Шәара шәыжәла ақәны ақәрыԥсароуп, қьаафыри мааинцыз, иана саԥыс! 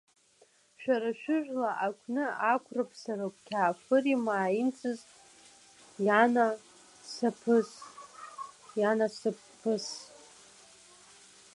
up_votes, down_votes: 1, 2